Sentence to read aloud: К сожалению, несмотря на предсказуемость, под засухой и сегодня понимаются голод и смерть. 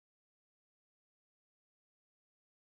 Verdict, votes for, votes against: rejected, 0, 2